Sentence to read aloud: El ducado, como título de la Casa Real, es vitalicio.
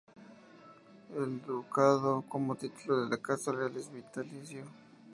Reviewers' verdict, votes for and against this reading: rejected, 0, 2